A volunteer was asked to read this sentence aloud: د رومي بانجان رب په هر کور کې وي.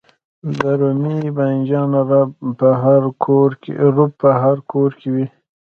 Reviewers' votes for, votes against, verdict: 0, 2, rejected